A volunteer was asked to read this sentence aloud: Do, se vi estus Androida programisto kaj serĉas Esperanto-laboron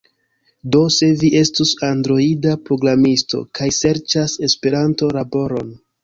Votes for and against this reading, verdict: 0, 2, rejected